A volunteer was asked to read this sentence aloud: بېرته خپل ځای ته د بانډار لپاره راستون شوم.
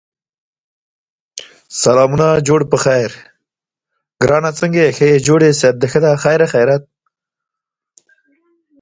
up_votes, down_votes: 0, 2